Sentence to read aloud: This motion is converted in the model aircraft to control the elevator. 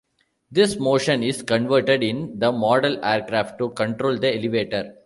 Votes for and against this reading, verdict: 2, 0, accepted